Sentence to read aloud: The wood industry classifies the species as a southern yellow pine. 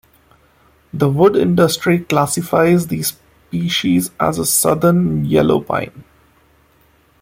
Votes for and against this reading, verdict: 2, 0, accepted